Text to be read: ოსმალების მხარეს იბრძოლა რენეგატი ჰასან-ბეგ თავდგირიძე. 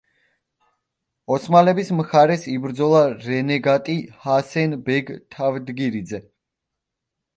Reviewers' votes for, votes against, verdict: 0, 2, rejected